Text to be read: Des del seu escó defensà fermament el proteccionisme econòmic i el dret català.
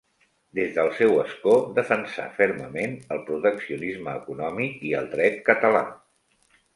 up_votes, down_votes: 2, 0